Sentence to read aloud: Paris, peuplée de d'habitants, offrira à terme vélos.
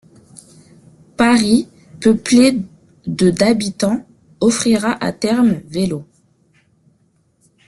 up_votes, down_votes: 1, 2